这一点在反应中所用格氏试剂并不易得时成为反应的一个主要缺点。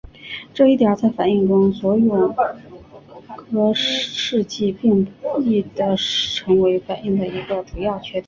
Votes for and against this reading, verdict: 0, 2, rejected